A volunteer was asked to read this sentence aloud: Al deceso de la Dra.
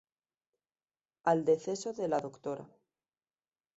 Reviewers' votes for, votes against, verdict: 2, 0, accepted